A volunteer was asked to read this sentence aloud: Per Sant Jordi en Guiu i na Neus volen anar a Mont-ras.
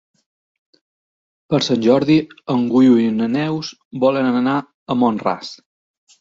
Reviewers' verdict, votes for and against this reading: rejected, 0, 2